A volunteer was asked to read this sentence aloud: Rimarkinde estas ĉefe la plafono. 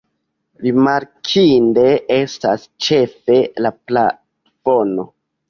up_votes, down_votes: 2, 1